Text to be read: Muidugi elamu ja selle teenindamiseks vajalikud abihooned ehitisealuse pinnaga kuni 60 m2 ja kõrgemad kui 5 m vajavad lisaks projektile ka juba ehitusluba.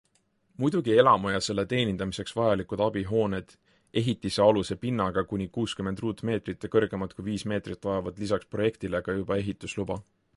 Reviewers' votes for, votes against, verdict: 0, 2, rejected